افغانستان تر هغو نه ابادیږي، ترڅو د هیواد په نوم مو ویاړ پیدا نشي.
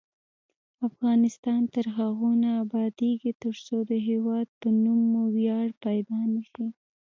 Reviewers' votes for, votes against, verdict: 2, 1, accepted